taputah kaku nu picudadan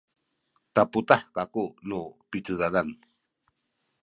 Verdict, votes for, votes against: rejected, 1, 2